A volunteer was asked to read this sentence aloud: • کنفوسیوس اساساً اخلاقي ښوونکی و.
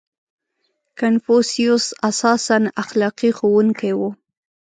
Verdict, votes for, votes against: accepted, 2, 0